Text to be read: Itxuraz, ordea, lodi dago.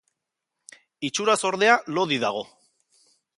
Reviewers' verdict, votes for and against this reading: accepted, 2, 0